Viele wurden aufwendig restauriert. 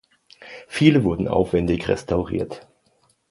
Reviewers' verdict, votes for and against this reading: accepted, 2, 0